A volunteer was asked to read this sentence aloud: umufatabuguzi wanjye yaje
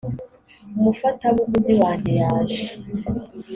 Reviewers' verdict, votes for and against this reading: accepted, 2, 0